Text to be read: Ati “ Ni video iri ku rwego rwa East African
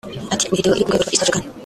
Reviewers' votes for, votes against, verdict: 0, 2, rejected